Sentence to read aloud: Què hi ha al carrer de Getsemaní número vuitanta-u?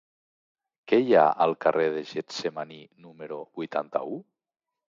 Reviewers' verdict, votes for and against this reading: accepted, 2, 0